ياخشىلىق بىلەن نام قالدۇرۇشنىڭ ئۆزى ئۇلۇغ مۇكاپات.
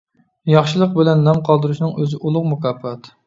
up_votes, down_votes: 2, 0